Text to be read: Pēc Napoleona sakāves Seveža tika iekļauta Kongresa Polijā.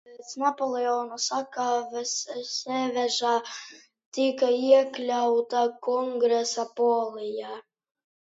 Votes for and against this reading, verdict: 1, 2, rejected